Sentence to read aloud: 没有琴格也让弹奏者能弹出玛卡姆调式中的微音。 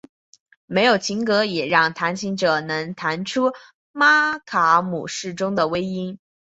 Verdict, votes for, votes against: rejected, 0, 3